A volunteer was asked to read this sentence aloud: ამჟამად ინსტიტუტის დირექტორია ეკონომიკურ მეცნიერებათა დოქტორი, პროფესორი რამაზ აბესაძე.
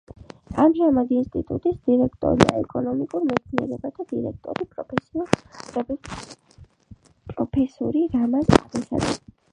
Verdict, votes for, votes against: rejected, 0, 2